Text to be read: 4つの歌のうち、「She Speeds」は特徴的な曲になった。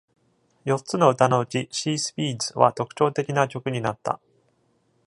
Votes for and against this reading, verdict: 0, 2, rejected